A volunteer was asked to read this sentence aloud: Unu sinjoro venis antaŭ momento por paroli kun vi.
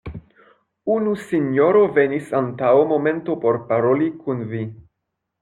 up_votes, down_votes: 1, 2